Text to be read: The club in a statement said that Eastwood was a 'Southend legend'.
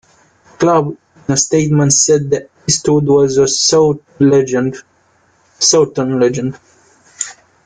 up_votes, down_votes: 1, 2